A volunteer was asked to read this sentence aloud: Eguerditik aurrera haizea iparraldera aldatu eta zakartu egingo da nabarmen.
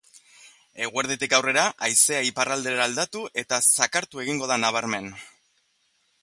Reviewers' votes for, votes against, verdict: 3, 0, accepted